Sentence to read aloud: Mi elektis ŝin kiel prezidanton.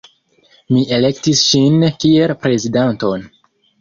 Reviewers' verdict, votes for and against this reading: accepted, 2, 0